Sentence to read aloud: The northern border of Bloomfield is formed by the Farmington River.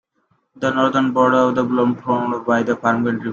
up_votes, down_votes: 0, 2